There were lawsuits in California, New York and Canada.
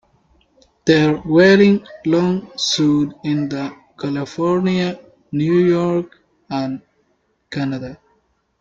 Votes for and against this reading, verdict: 0, 2, rejected